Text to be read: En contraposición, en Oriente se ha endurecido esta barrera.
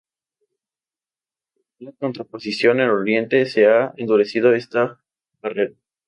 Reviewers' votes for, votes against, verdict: 0, 2, rejected